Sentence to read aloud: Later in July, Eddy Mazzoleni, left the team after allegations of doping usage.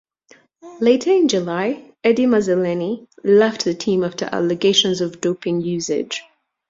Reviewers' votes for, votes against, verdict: 1, 2, rejected